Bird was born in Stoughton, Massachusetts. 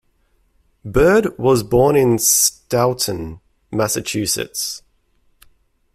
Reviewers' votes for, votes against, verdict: 2, 0, accepted